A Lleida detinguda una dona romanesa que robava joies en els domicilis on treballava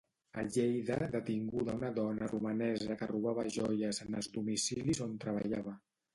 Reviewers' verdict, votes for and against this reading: rejected, 1, 2